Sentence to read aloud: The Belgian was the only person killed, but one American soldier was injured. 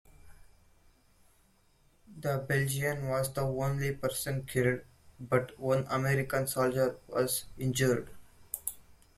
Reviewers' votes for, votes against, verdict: 2, 1, accepted